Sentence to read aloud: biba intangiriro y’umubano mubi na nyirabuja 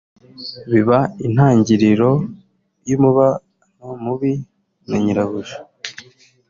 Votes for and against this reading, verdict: 2, 1, accepted